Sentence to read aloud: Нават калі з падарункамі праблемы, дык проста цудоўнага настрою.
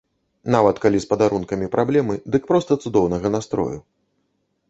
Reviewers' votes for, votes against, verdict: 2, 0, accepted